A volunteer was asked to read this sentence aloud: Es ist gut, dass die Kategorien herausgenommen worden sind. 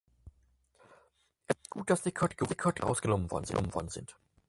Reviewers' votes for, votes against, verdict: 0, 4, rejected